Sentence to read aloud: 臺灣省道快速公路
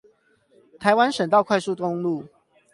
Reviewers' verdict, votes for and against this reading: rejected, 4, 8